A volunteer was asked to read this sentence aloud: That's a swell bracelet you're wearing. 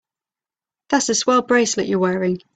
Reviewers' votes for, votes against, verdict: 4, 0, accepted